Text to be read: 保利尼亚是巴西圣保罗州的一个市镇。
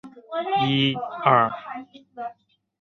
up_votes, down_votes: 3, 4